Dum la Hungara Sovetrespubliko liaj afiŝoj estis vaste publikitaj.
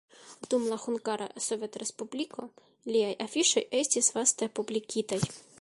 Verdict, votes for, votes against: accepted, 2, 0